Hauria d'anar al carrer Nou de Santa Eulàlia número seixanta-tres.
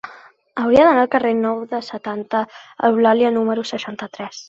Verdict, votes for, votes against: rejected, 0, 2